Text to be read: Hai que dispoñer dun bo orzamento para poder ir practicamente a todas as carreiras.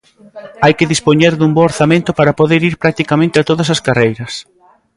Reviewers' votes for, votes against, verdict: 1, 2, rejected